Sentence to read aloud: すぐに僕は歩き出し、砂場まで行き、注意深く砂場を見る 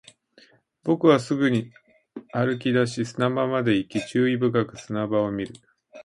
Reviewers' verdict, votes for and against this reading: rejected, 0, 2